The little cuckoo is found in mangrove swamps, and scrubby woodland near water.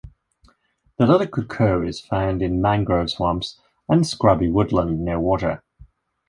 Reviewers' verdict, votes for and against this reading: accepted, 2, 0